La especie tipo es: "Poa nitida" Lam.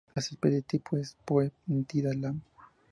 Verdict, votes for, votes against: accepted, 2, 0